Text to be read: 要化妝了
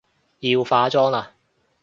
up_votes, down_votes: 0, 2